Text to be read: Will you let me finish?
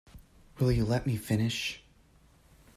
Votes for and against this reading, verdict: 2, 0, accepted